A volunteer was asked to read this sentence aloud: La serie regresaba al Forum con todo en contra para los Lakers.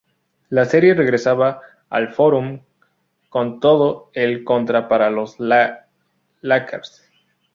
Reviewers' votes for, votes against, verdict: 0, 2, rejected